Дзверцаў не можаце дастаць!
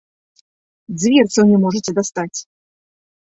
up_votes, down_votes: 2, 0